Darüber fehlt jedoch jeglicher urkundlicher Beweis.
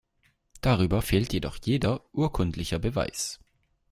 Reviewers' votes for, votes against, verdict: 0, 2, rejected